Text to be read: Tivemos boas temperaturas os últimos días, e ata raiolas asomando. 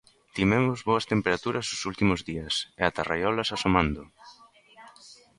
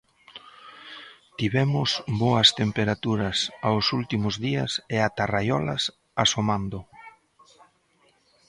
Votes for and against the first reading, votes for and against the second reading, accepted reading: 2, 1, 1, 2, first